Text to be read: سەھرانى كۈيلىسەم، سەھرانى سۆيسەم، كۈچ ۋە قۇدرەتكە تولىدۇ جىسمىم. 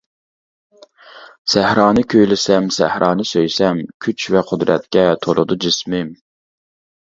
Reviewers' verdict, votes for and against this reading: accepted, 2, 0